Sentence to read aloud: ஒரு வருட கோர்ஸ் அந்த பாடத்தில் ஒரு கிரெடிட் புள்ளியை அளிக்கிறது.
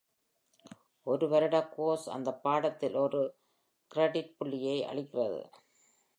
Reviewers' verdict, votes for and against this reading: accepted, 2, 0